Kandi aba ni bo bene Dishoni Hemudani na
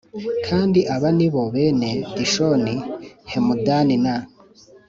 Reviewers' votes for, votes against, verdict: 2, 0, accepted